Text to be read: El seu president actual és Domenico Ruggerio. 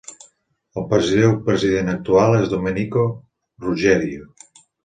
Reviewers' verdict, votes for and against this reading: rejected, 1, 2